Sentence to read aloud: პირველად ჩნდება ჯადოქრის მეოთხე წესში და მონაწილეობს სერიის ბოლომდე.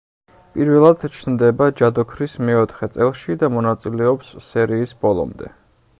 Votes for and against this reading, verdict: 0, 2, rejected